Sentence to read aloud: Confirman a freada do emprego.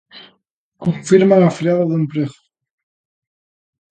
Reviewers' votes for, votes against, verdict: 2, 0, accepted